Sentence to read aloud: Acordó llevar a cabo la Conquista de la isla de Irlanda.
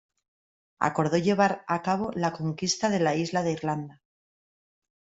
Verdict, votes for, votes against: accepted, 2, 0